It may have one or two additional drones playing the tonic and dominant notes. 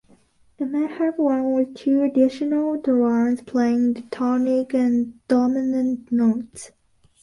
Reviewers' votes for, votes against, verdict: 2, 1, accepted